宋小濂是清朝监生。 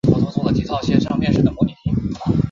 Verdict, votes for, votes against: rejected, 0, 5